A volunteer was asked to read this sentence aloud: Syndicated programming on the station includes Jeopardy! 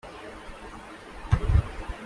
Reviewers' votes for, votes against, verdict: 0, 2, rejected